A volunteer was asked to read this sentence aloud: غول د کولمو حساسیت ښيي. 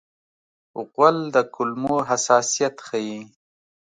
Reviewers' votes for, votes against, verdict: 2, 0, accepted